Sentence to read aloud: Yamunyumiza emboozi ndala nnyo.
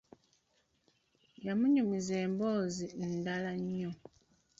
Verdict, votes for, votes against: rejected, 1, 2